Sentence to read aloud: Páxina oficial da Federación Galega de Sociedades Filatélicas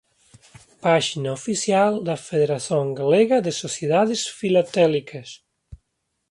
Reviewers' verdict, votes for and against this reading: accepted, 2, 1